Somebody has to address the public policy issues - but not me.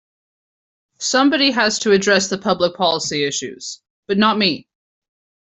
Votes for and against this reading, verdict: 2, 0, accepted